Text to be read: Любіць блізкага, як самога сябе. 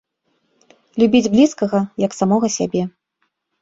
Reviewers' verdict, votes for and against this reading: accepted, 2, 0